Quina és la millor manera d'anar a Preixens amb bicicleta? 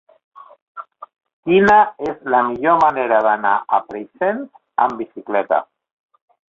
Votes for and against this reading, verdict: 1, 3, rejected